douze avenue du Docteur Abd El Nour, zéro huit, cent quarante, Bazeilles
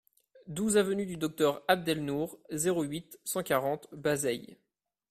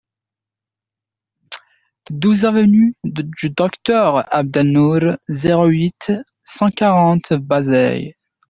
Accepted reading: first